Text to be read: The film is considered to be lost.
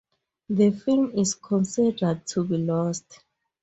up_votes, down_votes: 4, 0